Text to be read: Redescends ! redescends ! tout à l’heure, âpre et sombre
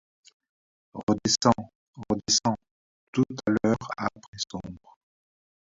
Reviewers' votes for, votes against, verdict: 0, 2, rejected